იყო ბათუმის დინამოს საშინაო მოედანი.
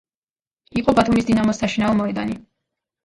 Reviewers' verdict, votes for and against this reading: rejected, 0, 2